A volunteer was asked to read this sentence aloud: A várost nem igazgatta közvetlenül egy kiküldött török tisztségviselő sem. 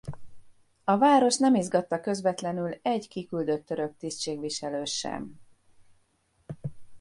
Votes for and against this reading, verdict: 1, 2, rejected